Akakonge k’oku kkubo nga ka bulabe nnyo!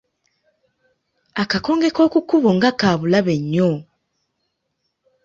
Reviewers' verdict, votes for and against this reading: accepted, 2, 0